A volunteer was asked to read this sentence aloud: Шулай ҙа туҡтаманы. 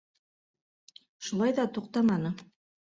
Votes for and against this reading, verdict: 3, 0, accepted